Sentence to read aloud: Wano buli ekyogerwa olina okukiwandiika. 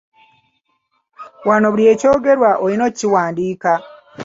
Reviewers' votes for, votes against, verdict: 1, 2, rejected